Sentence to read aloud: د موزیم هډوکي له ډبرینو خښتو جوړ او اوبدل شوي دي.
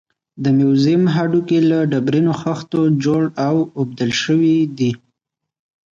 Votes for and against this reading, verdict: 2, 1, accepted